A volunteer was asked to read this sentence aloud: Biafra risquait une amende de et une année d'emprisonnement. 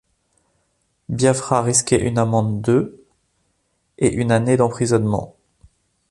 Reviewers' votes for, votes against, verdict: 2, 0, accepted